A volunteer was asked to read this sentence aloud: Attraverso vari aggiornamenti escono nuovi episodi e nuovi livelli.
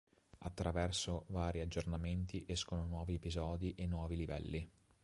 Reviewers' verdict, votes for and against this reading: accepted, 2, 0